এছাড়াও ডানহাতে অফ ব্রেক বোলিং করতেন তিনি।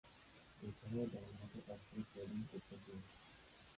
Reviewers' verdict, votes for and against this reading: rejected, 1, 2